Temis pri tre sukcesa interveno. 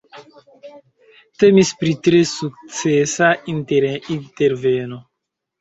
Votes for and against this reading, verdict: 2, 3, rejected